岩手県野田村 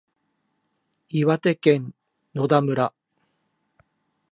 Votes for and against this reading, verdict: 2, 0, accepted